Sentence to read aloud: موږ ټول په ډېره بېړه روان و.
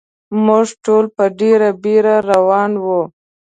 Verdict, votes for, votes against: rejected, 0, 2